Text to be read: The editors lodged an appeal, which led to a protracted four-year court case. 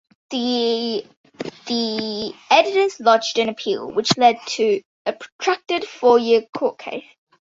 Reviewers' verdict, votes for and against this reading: rejected, 0, 2